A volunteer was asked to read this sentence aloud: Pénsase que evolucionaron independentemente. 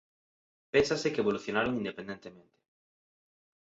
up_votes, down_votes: 2, 0